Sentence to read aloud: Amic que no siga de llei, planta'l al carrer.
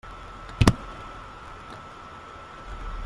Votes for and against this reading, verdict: 0, 2, rejected